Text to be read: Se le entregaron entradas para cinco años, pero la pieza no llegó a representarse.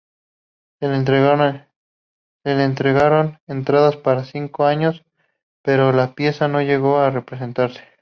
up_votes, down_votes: 2, 0